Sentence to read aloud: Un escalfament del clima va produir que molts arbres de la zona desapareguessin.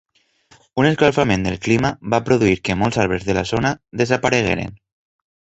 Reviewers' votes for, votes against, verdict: 0, 2, rejected